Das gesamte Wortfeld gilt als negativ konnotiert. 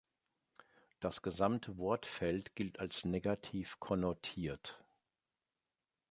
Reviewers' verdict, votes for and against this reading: accepted, 3, 0